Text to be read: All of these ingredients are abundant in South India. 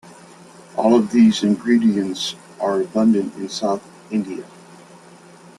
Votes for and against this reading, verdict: 2, 0, accepted